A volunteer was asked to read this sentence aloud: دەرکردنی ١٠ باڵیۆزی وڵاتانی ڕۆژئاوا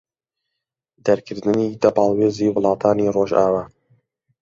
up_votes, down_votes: 0, 2